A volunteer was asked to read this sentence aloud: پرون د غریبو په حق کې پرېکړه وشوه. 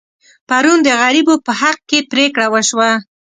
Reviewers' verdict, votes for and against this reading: accepted, 2, 0